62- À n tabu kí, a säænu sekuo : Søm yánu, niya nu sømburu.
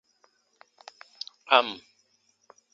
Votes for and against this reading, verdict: 0, 2, rejected